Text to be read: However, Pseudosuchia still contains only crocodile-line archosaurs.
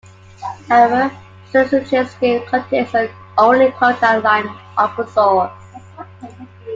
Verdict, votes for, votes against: rejected, 0, 2